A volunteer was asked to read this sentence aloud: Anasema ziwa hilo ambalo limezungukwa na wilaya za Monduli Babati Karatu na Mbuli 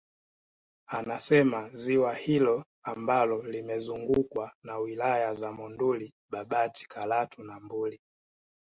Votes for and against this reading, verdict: 2, 0, accepted